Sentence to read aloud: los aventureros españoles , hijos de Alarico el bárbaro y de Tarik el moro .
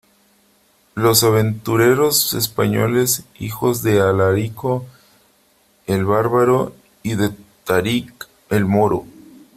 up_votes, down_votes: 2, 1